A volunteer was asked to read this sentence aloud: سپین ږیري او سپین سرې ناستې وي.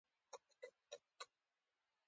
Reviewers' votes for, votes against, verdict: 2, 1, accepted